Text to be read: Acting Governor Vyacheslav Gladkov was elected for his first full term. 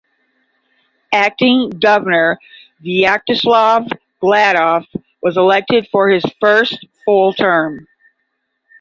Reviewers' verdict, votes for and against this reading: rejected, 0, 5